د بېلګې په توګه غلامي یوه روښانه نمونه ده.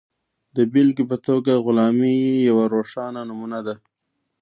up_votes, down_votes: 1, 2